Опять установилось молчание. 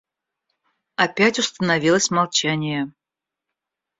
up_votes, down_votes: 0, 2